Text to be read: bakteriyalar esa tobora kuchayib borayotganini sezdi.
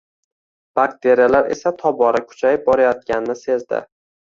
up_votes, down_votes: 1, 2